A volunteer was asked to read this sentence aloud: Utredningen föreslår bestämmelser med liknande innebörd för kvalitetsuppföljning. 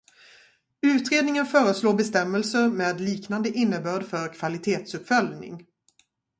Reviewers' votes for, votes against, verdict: 4, 2, accepted